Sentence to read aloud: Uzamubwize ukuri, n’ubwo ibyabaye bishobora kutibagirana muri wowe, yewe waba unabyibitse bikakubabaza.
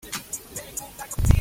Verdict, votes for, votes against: rejected, 0, 2